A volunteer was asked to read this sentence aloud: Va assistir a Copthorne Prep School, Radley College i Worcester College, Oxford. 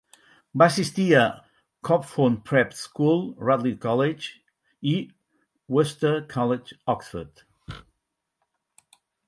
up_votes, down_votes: 4, 2